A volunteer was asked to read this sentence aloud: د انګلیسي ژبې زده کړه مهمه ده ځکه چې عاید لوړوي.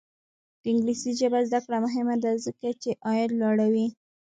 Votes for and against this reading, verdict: 0, 2, rejected